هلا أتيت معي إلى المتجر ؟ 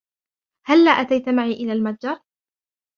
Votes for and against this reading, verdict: 2, 1, accepted